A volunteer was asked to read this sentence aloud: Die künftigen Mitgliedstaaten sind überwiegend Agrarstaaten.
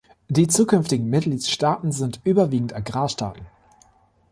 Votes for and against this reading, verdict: 1, 2, rejected